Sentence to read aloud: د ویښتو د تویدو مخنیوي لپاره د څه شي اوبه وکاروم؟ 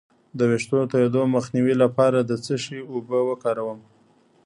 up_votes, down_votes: 1, 2